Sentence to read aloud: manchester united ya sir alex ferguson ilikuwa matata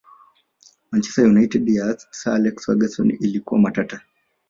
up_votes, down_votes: 1, 2